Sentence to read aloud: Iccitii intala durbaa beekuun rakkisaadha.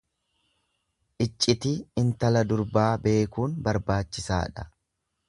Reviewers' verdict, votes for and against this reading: rejected, 0, 2